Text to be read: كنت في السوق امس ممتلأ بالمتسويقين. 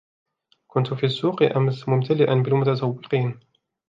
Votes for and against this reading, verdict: 2, 0, accepted